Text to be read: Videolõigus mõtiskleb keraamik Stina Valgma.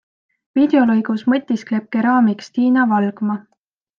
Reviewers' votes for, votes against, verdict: 4, 0, accepted